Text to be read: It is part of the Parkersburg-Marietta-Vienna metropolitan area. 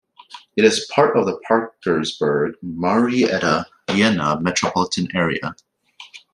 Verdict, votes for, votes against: rejected, 1, 2